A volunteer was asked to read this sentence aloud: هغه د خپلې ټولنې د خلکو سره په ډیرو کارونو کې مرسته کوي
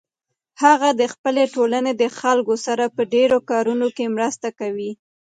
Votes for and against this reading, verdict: 1, 2, rejected